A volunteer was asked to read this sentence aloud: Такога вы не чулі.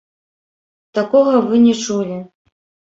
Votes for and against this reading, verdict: 1, 2, rejected